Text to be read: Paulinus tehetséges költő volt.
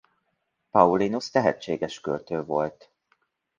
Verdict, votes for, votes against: accepted, 2, 0